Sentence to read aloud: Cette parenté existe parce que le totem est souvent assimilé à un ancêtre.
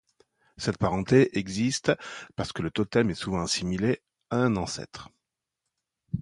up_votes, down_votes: 2, 0